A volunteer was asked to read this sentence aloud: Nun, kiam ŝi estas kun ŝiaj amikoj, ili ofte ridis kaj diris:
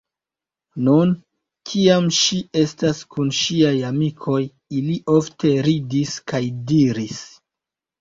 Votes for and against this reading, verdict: 0, 2, rejected